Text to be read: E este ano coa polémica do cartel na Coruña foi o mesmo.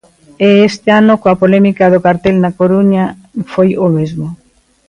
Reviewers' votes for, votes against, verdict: 1, 2, rejected